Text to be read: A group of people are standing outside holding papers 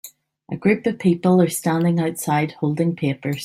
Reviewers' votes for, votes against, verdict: 2, 0, accepted